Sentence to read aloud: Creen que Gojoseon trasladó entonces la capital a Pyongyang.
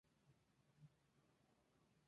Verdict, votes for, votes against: rejected, 0, 2